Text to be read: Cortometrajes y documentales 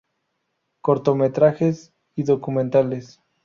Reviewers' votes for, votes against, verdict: 2, 0, accepted